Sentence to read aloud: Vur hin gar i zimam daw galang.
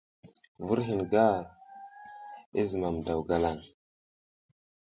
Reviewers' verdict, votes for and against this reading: rejected, 1, 2